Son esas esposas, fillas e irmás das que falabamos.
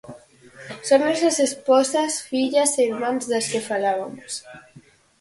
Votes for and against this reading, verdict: 0, 4, rejected